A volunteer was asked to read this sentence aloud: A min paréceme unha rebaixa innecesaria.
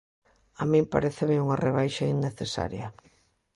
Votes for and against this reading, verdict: 2, 0, accepted